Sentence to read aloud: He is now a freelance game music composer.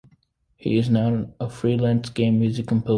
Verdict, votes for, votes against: rejected, 1, 2